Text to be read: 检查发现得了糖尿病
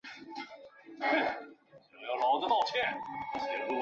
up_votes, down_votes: 0, 2